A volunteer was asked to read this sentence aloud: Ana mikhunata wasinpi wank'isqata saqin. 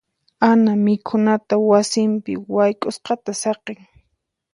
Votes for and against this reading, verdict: 4, 0, accepted